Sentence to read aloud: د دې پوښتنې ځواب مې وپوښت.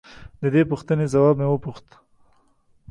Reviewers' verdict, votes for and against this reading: accepted, 2, 0